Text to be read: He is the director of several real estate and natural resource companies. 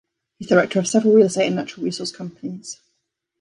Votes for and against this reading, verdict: 2, 0, accepted